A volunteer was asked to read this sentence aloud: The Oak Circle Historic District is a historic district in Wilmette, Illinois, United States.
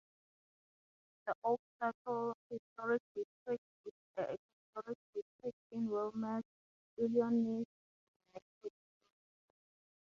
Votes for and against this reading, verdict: 3, 3, rejected